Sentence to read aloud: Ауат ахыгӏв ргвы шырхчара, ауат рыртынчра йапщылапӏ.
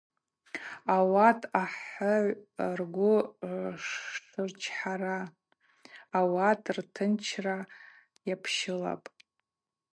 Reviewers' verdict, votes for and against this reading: rejected, 0, 2